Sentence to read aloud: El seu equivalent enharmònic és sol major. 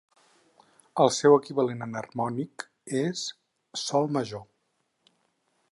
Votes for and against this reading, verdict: 4, 0, accepted